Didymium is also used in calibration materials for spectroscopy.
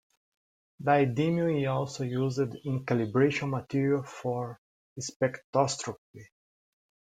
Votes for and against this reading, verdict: 1, 2, rejected